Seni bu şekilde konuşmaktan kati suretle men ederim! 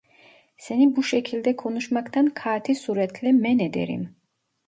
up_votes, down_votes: 0, 2